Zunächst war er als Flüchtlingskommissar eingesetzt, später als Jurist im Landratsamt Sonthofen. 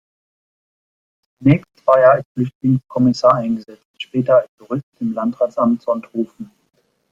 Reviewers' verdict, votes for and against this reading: rejected, 1, 2